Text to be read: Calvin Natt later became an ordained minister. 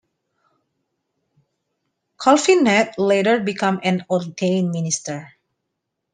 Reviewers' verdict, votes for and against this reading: accepted, 2, 1